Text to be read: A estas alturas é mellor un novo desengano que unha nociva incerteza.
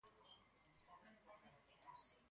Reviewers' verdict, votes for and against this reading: rejected, 0, 4